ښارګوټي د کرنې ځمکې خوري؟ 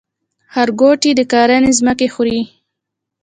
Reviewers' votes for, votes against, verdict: 2, 1, accepted